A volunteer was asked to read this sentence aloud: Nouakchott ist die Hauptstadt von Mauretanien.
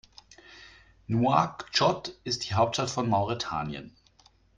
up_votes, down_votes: 2, 0